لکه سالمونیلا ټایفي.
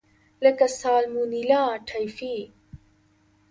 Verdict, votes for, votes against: accepted, 2, 0